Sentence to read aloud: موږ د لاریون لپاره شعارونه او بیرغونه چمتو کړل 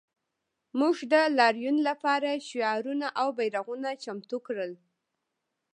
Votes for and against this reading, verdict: 1, 2, rejected